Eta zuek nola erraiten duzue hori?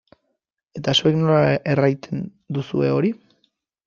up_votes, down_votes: 1, 2